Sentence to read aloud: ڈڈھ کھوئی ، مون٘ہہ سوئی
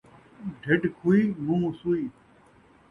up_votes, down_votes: 2, 0